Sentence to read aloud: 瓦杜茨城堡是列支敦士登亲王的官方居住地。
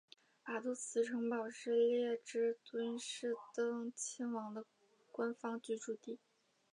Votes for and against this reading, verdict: 4, 0, accepted